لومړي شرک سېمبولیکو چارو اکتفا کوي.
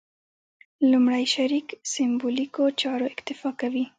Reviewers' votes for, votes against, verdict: 1, 2, rejected